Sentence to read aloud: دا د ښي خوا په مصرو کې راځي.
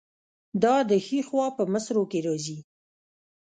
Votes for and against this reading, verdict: 1, 2, rejected